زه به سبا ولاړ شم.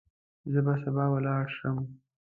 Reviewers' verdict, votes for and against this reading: accepted, 2, 1